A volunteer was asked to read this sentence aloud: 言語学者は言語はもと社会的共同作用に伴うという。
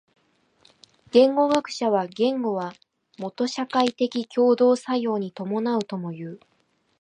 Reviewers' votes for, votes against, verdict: 1, 2, rejected